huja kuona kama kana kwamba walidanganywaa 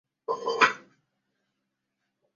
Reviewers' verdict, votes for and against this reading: rejected, 0, 2